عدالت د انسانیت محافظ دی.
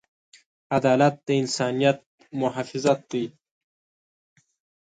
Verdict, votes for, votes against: rejected, 0, 2